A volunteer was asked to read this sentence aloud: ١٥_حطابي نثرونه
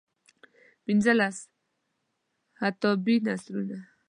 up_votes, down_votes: 0, 2